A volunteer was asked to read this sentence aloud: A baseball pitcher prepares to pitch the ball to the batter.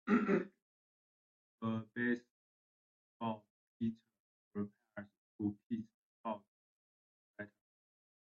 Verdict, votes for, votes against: rejected, 0, 3